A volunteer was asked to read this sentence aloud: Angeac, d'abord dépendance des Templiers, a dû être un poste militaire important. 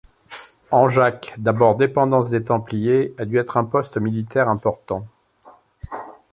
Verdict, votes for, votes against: accepted, 2, 0